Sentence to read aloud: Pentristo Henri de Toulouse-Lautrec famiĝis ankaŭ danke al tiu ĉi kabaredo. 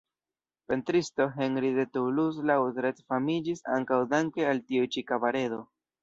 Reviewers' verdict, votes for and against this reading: rejected, 1, 2